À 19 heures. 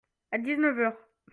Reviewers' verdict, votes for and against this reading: rejected, 0, 2